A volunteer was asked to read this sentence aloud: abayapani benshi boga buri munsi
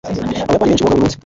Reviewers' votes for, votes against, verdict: 0, 2, rejected